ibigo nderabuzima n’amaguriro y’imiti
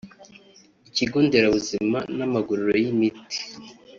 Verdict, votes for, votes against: rejected, 1, 3